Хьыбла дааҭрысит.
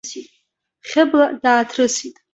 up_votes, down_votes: 2, 0